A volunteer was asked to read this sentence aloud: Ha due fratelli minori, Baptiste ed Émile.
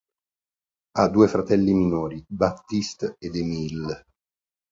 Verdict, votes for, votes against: accepted, 2, 0